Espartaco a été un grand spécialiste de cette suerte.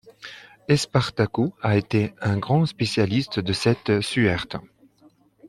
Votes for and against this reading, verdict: 1, 2, rejected